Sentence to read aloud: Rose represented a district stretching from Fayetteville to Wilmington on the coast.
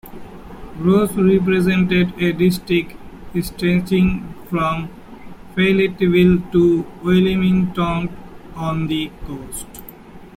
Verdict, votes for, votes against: rejected, 0, 2